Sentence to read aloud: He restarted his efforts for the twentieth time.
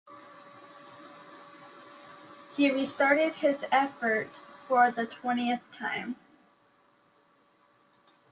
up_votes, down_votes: 1, 2